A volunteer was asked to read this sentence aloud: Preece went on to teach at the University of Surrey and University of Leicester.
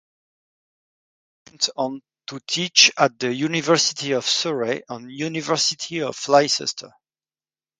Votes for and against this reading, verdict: 0, 2, rejected